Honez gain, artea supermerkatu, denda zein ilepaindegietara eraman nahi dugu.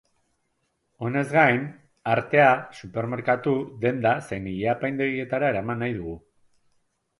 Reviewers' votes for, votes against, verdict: 2, 0, accepted